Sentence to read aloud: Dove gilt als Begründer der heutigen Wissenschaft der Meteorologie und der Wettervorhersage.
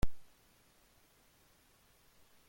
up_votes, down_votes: 0, 2